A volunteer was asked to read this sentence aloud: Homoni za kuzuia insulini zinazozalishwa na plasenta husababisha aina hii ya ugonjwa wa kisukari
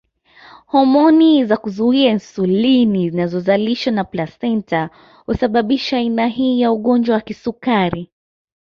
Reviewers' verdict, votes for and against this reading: accepted, 2, 0